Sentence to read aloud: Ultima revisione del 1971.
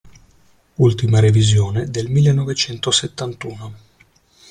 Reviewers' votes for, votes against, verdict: 0, 2, rejected